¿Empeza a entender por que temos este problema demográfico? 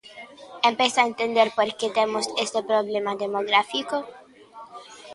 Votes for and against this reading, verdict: 0, 2, rejected